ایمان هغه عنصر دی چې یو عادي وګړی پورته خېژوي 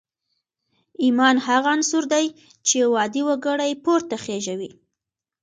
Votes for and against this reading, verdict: 2, 0, accepted